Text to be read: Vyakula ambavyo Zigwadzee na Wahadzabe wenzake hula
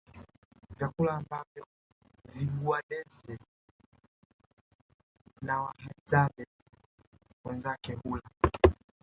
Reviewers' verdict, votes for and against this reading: rejected, 0, 2